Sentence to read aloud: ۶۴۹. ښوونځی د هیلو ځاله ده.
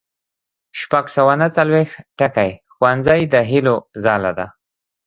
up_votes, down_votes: 0, 2